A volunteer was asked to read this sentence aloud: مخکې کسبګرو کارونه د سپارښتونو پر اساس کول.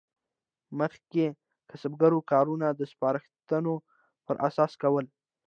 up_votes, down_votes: 2, 1